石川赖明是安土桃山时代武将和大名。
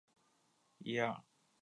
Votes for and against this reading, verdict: 1, 3, rejected